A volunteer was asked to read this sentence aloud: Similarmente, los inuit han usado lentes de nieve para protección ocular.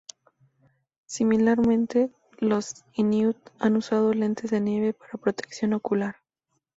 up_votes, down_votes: 4, 2